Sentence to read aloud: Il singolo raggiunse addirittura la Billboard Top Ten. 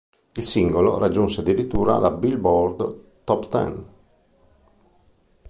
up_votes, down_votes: 4, 0